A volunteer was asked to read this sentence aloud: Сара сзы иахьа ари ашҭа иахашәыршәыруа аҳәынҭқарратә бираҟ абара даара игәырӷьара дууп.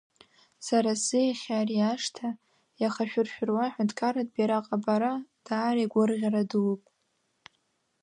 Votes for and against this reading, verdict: 0, 2, rejected